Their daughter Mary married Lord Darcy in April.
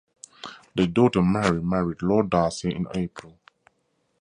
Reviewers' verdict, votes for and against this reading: accepted, 2, 0